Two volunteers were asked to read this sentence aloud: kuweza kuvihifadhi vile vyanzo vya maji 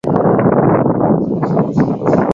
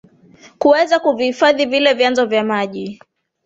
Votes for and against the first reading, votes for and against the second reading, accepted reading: 0, 5, 3, 0, second